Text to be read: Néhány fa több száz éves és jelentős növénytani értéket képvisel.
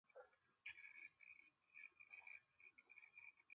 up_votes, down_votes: 0, 2